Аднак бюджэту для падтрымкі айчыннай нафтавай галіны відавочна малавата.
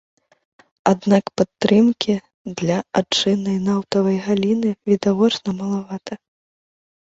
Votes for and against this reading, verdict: 0, 2, rejected